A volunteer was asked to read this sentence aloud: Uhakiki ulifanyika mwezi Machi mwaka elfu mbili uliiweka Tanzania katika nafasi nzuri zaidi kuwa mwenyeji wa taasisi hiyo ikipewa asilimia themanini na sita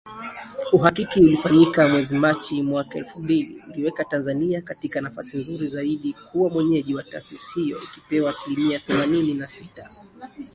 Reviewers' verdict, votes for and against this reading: accepted, 13, 0